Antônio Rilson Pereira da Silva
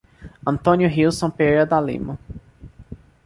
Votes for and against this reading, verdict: 0, 2, rejected